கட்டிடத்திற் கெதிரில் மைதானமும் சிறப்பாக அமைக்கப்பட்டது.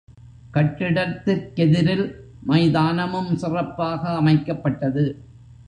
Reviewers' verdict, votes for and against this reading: accepted, 4, 0